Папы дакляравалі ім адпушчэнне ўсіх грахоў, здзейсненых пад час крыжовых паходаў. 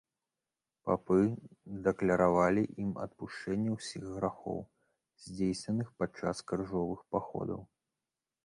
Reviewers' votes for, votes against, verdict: 2, 0, accepted